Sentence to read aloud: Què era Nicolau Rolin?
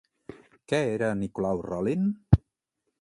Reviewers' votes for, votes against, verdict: 2, 0, accepted